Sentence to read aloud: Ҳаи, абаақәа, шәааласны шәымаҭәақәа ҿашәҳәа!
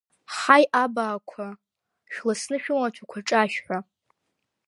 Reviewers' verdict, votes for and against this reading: rejected, 1, 2